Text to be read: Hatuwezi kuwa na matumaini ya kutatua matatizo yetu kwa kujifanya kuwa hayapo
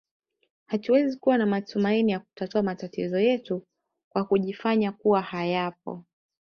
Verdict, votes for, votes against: accepted, 2, 0